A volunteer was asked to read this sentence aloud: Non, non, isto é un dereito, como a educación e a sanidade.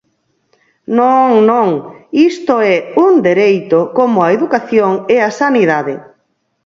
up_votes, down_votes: 4, 0